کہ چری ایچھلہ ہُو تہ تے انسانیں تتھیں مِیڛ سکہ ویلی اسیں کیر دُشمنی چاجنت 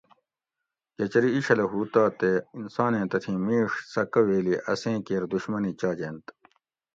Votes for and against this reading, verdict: 2, 0, accepted